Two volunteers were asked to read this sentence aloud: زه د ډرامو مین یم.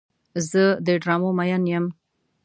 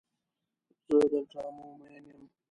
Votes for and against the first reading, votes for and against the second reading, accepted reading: 2, 0, 0, 2, first